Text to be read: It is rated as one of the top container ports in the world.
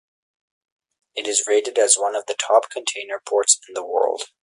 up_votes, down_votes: 4, 0